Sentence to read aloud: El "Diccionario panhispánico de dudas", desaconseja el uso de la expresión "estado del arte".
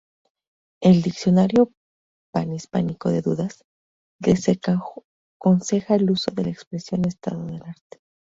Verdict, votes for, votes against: rejected, 0, 2